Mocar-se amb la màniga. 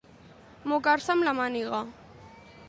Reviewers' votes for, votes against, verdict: 2, 0, accepted